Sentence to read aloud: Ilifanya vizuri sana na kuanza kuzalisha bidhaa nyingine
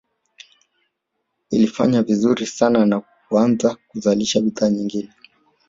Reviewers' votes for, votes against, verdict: 0, 2, rejected